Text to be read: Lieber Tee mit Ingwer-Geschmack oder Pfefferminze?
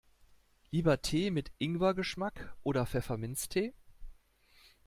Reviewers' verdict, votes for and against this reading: rejected, 1, 2